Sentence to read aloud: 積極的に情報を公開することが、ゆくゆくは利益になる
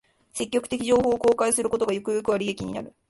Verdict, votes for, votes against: rejected, 1, 2